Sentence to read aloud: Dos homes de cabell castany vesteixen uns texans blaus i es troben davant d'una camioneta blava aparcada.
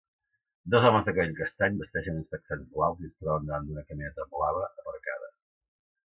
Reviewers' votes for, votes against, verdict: 1, 2, rejected